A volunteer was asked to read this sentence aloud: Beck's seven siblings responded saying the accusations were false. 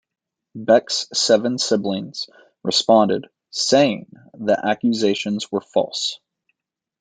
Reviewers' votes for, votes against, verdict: 2, 0, accepted